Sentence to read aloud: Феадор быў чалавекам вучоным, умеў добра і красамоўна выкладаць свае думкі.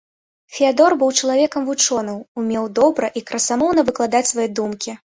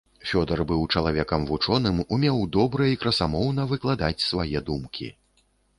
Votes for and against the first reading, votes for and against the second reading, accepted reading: 2, 0, 0, 2, first